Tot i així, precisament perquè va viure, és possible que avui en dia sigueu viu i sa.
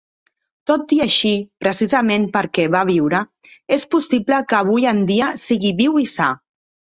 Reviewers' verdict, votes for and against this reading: rejected, 1, 2